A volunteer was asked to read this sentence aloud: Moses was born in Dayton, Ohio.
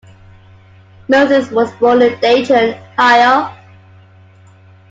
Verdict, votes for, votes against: rejected, 1, 3